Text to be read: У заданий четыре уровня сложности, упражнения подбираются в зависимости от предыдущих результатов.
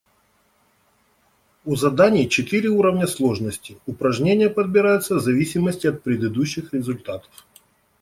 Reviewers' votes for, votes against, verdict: 2, 0, accepted